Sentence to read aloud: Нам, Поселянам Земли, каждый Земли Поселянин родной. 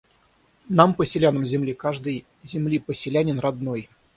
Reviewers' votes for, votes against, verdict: 0, 3, rejected